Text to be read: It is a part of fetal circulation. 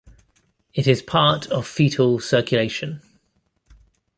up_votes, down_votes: 1, 2